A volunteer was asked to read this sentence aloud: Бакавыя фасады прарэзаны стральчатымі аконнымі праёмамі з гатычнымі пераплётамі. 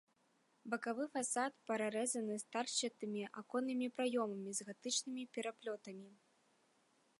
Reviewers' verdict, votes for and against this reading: rejected, 0, 3